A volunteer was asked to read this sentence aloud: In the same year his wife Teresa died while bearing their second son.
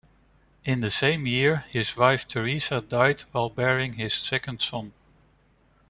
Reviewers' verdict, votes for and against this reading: rejected, 0, 2